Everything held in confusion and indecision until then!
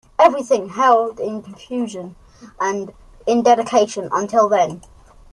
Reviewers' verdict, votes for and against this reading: rejected, 1, 2